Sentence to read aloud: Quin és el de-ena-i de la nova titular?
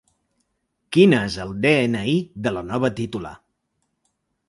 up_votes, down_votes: 3, 0